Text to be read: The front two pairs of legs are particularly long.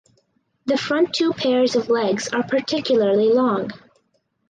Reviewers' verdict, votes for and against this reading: accepted, 4, 0